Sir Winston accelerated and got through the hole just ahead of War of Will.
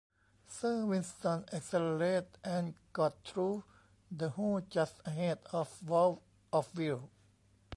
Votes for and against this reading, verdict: 0, 2, rejected